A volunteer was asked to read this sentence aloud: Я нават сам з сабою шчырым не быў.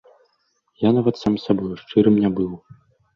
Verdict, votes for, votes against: accepted, 2, 0